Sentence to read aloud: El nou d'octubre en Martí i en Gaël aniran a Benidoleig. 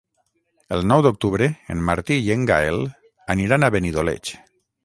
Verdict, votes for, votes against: accepted, 6, 0